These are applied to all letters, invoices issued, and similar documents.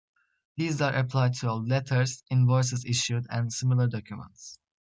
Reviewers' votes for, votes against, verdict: 2, 0, accepted